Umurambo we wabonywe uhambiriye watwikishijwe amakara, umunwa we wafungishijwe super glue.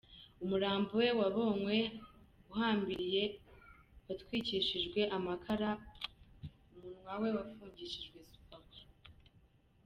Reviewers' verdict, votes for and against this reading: rejected, 1, 2